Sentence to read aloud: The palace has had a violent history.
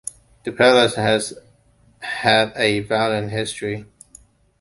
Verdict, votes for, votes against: accepted, 2, 0